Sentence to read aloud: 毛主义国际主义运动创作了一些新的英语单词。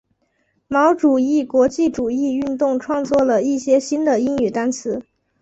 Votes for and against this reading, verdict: 2, 0, accepted